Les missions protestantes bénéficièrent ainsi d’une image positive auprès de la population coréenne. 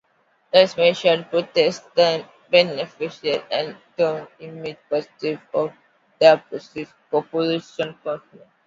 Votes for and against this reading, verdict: 0, 2, rejected